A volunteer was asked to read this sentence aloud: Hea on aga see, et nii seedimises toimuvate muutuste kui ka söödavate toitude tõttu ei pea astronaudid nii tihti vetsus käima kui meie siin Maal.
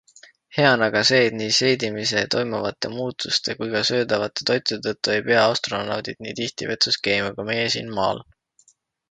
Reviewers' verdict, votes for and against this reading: rejected, 0, 2